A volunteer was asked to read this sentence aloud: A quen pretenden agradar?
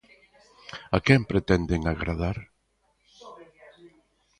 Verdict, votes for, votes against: accepted, 2, 0